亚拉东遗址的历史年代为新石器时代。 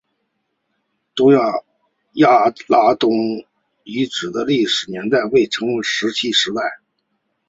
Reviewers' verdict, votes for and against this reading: rejected, 0, 2